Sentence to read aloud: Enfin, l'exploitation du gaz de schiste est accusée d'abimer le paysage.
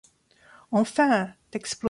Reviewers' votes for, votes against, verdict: 0, 2, rejected